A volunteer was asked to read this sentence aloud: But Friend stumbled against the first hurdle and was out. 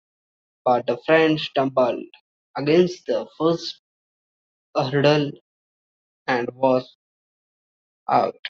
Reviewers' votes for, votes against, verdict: 0, 2, rejected